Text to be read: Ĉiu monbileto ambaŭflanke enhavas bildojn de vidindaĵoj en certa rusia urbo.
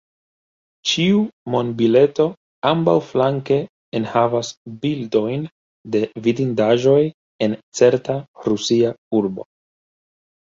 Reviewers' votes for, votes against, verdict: 1, 2, rejected